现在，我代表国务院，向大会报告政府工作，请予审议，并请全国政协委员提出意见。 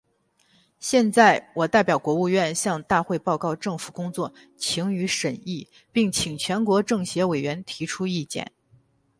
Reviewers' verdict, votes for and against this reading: accepted, 4, 0